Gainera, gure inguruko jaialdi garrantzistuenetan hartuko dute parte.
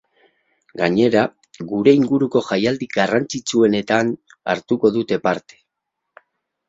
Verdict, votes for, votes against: rejected, 2, 2